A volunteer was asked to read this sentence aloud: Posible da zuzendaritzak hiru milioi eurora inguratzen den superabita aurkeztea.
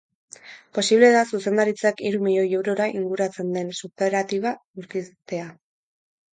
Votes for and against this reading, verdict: 0, 4, rejected